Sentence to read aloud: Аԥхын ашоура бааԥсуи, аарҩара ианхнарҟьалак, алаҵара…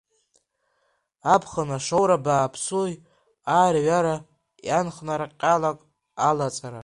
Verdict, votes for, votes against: rejected, 0, 2